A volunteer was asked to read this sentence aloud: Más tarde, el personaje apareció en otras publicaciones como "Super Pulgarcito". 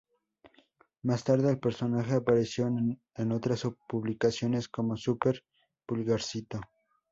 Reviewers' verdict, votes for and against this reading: accepted, 4, 0